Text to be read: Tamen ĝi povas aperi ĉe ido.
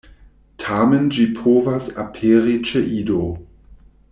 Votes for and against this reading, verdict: 2, 0, accepted